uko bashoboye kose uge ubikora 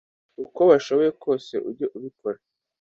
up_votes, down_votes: 2, 0